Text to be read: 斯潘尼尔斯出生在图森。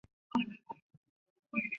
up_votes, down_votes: 0, 2